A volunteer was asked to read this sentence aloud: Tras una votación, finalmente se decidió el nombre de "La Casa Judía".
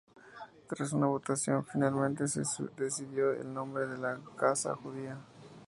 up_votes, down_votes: 2, 0